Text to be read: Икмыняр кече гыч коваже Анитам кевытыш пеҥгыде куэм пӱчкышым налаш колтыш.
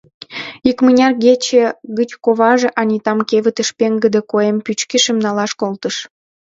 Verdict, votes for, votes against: accepted, 2, 0